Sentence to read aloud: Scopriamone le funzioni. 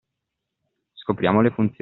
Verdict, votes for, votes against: rejected, 0, 2